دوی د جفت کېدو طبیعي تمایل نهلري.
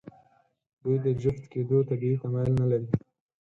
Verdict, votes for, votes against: rejected, 2, 4